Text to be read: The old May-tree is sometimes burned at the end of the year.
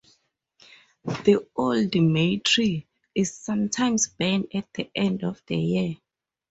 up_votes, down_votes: 2, 2